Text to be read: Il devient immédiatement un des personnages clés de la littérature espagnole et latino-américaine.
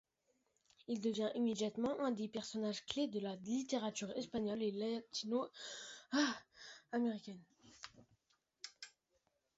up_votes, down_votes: 1, 2